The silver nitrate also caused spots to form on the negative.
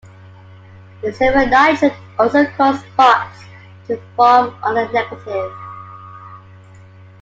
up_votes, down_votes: 2, 1